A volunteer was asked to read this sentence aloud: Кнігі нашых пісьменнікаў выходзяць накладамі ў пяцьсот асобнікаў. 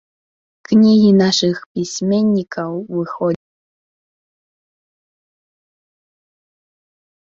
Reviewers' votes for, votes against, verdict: 0, 2, rejected